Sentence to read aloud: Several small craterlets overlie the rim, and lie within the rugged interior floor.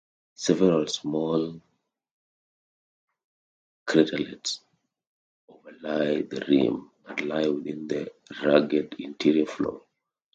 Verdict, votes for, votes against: rejected, 0, 2